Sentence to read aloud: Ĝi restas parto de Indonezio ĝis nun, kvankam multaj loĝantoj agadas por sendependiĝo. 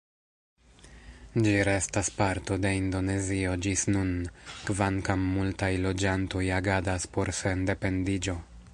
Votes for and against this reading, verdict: 1, 2, rejected